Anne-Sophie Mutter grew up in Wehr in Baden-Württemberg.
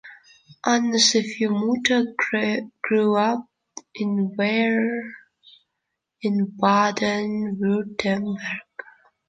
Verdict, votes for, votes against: rejected, 0, 3